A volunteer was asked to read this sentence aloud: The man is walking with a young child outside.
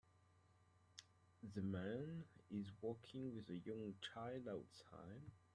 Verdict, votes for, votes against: rejected, 0, 2